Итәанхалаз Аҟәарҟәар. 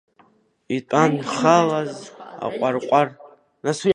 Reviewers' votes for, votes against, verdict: 1, 2, rejected